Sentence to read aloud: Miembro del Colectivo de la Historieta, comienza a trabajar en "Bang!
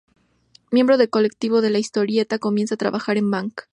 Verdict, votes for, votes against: rejected, 0, 2